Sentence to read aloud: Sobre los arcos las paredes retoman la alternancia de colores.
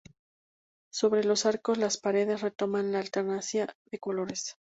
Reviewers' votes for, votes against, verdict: 2, 0, accepted